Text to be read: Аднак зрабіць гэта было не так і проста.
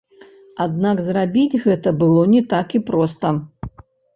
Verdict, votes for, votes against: rejected, 0, 2